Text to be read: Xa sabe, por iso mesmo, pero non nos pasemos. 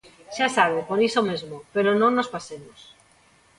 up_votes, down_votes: 0, 2